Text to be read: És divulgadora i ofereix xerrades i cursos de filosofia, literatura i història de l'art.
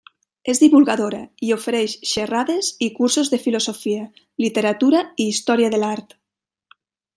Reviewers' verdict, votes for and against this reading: accepted, 3, 0